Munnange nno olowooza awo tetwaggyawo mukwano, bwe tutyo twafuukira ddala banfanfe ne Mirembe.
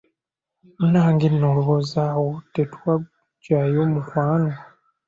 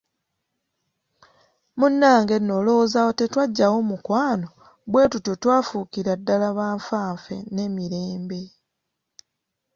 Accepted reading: second